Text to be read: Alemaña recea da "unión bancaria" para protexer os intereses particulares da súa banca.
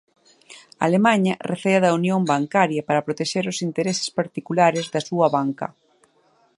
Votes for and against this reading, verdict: 3, 1, accepted